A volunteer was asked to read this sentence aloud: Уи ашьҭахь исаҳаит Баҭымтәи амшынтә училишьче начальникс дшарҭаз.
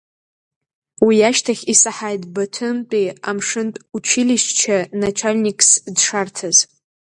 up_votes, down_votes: 2, 0